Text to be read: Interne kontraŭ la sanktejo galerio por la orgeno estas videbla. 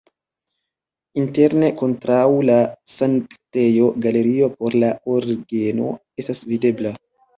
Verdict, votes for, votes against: rejected, 1, 2